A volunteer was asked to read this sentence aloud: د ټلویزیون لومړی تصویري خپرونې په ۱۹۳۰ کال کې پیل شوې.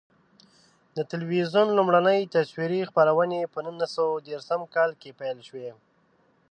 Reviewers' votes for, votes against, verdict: 0, 2, rejected